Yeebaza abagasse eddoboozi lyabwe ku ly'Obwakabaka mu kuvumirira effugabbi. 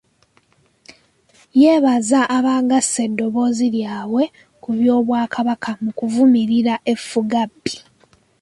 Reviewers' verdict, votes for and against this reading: accepted, 2, 0